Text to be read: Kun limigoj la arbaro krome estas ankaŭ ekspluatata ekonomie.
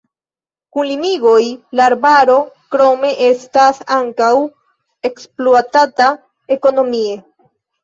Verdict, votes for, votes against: accepted, 3, 0